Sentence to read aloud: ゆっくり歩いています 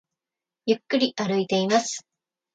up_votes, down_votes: 1, 2